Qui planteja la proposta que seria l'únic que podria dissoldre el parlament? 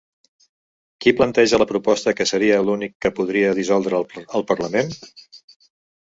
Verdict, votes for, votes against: accepted, 3, 1